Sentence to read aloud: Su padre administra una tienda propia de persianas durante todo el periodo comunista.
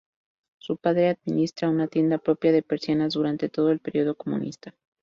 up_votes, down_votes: 2, 2